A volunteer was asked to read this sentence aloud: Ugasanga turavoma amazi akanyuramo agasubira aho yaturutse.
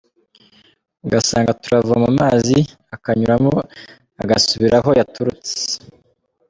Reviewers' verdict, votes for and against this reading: accepted, 2, 0